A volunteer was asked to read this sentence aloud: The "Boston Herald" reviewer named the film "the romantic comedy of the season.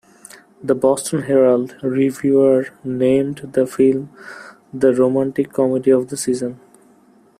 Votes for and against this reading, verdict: 3, 0, accepted